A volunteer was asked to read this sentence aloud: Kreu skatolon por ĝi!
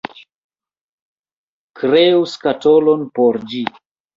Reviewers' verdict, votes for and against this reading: rejected, 0, 2